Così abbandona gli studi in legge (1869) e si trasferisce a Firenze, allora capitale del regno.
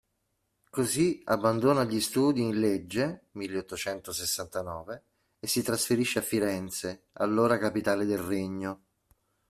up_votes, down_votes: 0, 2